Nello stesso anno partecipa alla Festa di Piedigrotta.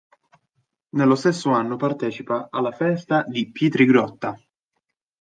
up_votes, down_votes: 0, 2